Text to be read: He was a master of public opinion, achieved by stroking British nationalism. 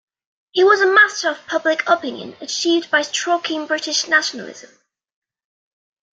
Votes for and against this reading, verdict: 2, 0, accepted